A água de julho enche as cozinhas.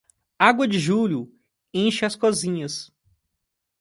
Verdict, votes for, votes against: accepted, 2, 1